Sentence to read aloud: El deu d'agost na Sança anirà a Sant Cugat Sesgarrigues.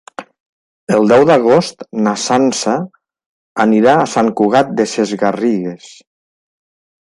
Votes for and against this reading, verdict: 0, 2, rejected